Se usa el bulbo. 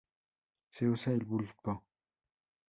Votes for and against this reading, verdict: 4, 0, accepted